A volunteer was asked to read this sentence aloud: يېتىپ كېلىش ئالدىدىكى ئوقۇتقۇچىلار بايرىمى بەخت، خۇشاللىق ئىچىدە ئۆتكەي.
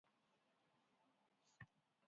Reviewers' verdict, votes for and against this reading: rejected, 0, 2